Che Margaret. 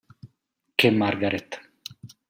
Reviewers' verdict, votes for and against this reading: accepted, 2, 0